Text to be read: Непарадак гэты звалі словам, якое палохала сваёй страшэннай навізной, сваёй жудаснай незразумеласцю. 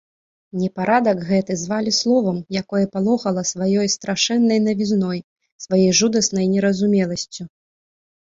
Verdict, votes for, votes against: rejected, 1, 2